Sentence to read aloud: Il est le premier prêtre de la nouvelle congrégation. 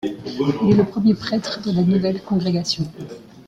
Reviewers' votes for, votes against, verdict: 0, 2, rejected